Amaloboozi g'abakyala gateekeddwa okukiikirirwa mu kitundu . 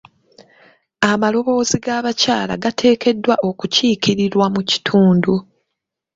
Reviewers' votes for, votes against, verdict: 2, 0, accepted